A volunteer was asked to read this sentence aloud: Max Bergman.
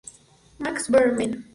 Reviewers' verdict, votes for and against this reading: accepted, 4, 2